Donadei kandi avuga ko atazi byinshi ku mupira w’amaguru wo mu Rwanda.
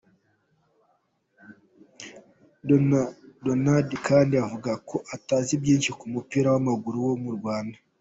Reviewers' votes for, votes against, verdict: 1, 2, rejected